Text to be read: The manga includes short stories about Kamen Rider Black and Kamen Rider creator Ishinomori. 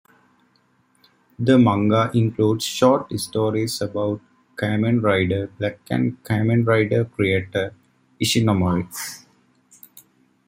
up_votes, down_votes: 2, 0